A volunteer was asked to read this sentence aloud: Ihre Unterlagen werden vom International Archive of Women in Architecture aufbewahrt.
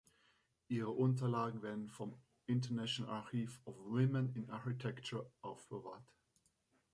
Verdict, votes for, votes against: rejected, 1, 2